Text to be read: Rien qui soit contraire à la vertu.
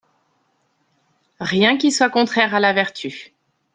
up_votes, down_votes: 3, 0